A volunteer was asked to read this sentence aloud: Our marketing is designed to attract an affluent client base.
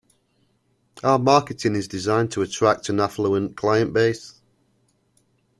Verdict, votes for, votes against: accepted, 2, 0